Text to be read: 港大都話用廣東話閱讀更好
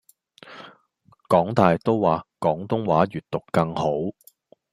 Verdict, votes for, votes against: rejected, 0, 2